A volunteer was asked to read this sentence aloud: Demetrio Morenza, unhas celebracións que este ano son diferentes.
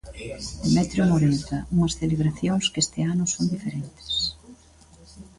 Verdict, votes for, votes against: rejected, 1, 2